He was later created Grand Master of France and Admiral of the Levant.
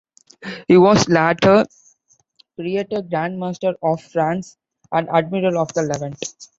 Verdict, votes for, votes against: rejected, 1, 2